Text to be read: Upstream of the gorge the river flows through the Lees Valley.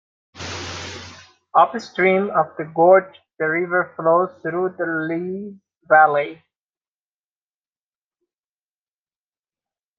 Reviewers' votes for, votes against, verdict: 1, 2, rejected